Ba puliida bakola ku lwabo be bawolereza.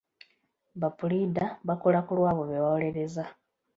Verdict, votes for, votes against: accepted, 2, 0